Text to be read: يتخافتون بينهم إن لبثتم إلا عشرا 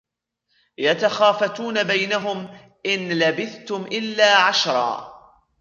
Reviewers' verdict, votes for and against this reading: rejected, 1, 2